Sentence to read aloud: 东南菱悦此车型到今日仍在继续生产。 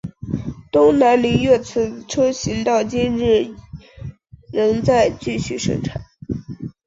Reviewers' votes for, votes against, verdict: 5, 0, accepted